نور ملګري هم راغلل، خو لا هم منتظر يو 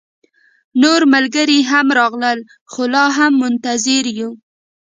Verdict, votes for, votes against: accepted, 2, 1